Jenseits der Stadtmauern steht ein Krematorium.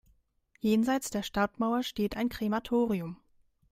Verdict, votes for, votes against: rejected, 0, 2